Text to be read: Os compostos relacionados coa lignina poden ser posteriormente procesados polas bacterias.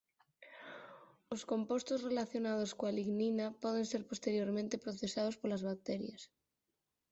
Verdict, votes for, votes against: accepted, 4, 0